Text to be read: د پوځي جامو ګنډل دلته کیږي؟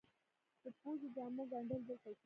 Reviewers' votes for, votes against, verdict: 1, 3, rejected